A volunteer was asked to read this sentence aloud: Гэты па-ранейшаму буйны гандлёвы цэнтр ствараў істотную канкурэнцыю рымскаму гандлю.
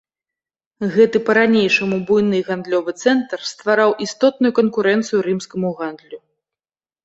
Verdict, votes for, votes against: accepted, 2, 0